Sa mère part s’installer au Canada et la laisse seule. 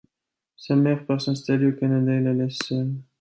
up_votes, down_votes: 2, 0